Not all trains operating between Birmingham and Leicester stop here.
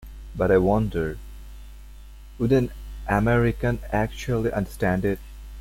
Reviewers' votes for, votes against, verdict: 0, 2, rejected